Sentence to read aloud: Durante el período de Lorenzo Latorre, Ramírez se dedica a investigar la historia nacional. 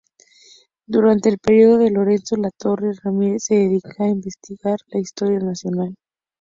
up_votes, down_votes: 2, 0